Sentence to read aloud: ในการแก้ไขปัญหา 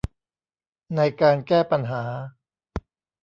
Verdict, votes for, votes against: rejected, 0, 2